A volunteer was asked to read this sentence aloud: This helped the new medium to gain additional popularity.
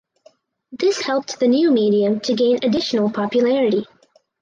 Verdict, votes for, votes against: accepted, 4, 0